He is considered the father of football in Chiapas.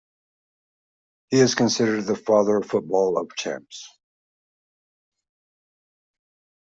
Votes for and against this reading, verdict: 0, 2, rejected